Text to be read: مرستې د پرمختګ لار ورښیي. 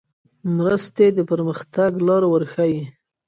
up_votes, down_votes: 2, 1